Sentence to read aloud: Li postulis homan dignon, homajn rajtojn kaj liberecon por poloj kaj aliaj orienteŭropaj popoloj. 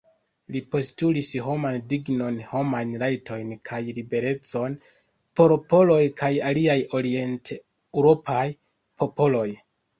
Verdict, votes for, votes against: accepted, 2, 1